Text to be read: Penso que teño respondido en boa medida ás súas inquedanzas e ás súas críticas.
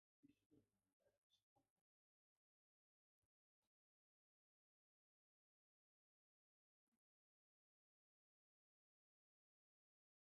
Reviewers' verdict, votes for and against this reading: rejected, 0, 2